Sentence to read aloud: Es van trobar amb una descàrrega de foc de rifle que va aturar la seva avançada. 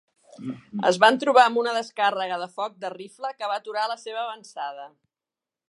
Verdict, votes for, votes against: accepted, 3, 0